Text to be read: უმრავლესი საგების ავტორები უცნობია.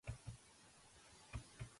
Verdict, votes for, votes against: rejected, 1, 2